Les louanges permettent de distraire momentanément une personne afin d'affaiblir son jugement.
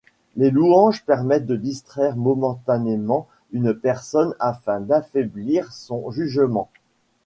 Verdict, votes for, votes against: accepted, 2, 0